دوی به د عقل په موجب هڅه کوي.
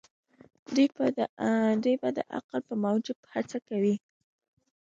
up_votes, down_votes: 2, 0